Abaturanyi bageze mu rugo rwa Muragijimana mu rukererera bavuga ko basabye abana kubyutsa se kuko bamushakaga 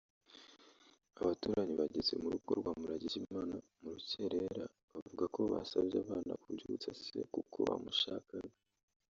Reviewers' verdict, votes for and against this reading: rejected, 1, 2